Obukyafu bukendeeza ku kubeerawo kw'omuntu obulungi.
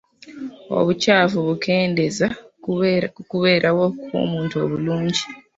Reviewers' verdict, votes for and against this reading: rejected, 0, 2